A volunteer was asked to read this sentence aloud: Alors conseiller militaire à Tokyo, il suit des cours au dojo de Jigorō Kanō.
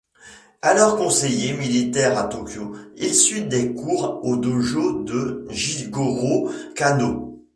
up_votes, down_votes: 2, 0